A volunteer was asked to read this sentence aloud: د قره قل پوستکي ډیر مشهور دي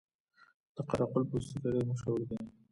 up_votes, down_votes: 1, 2